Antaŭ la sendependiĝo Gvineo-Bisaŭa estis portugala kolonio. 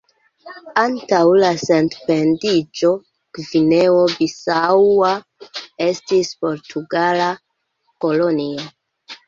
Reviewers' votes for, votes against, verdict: 1, 2, rejected